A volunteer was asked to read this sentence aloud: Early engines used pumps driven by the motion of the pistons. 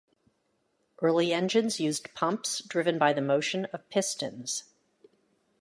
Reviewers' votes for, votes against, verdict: 2, 1, accepted